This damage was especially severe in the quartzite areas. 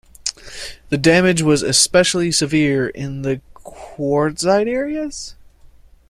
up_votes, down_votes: 1, 2